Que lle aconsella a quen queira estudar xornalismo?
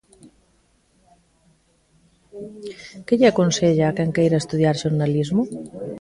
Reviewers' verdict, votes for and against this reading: rejected, 1, 2